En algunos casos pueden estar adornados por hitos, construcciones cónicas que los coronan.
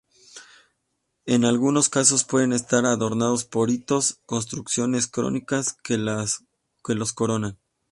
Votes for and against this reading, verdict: 0, 2, rejected